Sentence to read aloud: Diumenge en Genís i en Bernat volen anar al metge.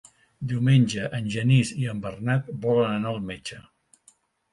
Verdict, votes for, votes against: accepted, 2, 0